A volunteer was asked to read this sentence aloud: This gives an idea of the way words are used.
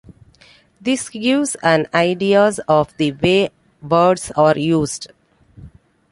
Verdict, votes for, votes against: rejected, 1, 2